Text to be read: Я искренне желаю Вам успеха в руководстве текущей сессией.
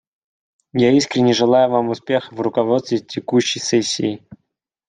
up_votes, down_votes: 2, 0